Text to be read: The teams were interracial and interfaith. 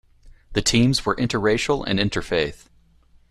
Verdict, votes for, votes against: accepted, 2, 0